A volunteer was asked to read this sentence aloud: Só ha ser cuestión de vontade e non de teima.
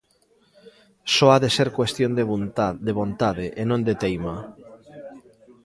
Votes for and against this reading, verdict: 1, 2, rejected